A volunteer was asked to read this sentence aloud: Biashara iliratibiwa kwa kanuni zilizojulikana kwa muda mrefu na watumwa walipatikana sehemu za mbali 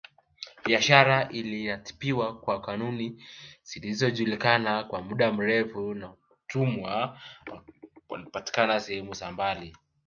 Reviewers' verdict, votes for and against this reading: accepted, 5, 0